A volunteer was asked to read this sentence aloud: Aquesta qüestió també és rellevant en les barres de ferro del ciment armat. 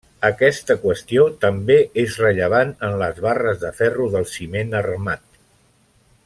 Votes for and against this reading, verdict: 3, 0, accepted